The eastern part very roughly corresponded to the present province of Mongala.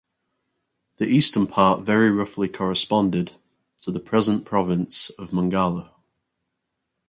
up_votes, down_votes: 4, 0